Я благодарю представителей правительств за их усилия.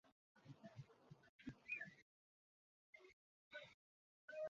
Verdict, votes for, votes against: rejected, 0, 2